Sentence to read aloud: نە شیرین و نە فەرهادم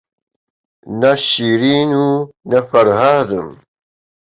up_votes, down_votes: 2, 0